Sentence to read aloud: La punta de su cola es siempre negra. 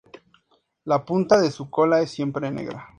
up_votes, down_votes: 4, 0